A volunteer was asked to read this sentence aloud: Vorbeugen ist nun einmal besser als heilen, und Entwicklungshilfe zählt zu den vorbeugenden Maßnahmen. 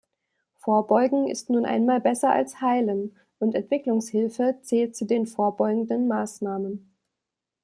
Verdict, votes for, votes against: accepted, 2, 0